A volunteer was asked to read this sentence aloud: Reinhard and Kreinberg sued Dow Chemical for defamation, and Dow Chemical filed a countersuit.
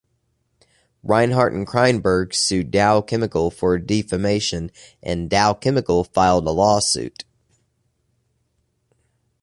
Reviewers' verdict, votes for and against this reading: rejected, 1, 2